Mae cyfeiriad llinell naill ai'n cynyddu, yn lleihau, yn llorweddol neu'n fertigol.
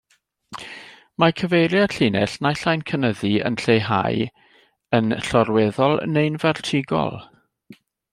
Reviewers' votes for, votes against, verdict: 2, 0, accepted